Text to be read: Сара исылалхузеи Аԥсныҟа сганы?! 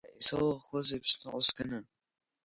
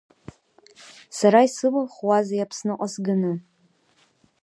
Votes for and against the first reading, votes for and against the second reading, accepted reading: 1, 2, 3, 0, second